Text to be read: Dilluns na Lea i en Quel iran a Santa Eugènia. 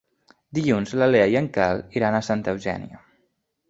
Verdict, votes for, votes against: rejected, 2, 3